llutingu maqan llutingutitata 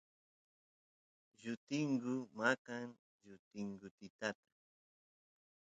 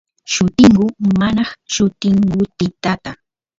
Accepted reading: first